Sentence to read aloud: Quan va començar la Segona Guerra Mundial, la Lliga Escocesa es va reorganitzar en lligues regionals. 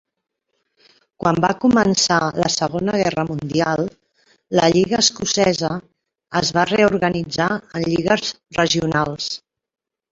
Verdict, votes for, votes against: rejected, 0, 2